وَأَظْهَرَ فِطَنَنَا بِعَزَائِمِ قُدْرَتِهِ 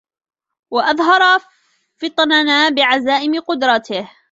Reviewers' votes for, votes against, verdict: 0, 2, rejected